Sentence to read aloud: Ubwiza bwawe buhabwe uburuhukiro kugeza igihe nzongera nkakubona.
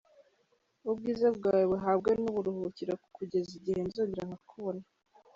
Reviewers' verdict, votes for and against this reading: rejected, 0, 2